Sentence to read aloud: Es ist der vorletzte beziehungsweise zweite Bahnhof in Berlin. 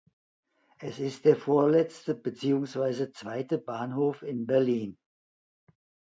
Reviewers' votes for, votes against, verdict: 2, 0, accepted